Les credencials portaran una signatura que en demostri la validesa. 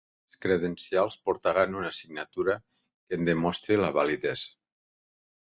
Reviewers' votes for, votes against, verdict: 0, 2, rejected